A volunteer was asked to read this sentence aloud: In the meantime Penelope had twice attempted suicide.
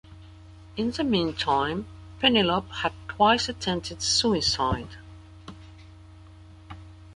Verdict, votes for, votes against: accepted, 2, 1